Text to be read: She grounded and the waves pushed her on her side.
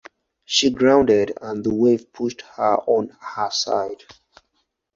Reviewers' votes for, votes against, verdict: 0, 4, rejected